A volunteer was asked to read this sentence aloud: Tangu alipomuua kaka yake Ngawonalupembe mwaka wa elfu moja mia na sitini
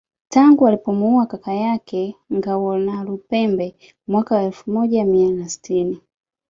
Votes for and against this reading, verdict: 2, 1, accepted